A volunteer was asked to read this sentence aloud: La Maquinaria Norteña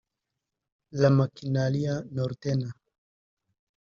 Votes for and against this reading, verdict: 0, 2, rejected